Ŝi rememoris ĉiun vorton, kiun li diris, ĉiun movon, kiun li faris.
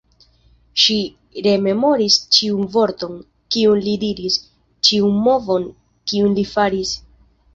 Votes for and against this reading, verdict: 3, 1, accepted